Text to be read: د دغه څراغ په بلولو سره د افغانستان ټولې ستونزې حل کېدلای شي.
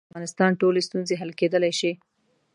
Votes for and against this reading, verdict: 2, 3, rejected